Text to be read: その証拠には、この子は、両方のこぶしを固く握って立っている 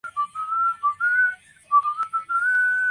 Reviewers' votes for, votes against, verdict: 0, 2, rejected